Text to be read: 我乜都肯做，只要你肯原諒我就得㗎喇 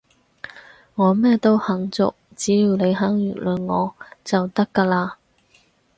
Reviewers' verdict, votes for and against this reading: rejected, 0, 4